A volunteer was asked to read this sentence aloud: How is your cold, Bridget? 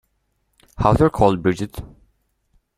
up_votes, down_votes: 0, 2